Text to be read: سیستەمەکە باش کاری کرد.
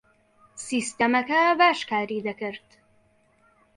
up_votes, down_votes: 1, 2